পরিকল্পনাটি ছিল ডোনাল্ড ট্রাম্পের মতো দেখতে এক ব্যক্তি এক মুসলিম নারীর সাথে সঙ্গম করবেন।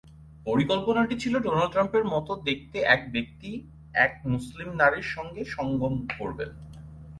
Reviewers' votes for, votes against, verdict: 4, 0, accepted